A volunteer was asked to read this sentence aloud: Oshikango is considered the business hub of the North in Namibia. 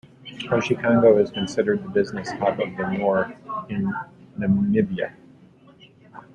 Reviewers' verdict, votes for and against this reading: rejected, 0, 2